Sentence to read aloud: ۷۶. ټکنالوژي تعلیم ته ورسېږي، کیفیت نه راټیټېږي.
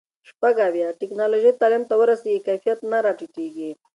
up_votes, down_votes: 0, 2